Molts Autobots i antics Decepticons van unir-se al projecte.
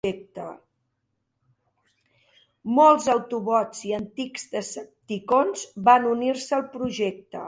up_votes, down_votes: 1, 2